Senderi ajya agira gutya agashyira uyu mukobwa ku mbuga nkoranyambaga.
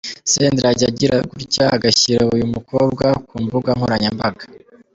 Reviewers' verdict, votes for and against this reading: rejected, 1, 2